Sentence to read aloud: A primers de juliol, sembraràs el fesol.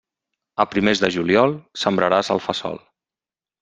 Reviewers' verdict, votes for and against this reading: rejected, 0, 2